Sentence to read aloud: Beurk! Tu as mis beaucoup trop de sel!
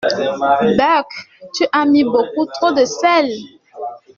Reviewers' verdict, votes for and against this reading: accepted, 2, 0